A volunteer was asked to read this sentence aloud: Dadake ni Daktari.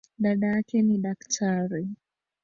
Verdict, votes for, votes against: rejected, 0, 2